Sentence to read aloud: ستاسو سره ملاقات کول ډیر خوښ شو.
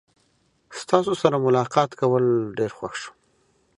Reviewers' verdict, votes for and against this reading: accepted, 2, 0